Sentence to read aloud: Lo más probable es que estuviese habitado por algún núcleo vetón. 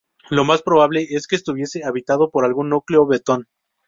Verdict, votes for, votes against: accepted, 2, 0